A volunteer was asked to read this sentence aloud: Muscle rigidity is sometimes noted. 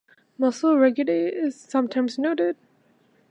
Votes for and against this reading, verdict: 1, 2, rejected